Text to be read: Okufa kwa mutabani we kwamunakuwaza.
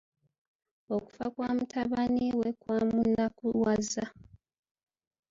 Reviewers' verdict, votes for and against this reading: accepted, 2, 1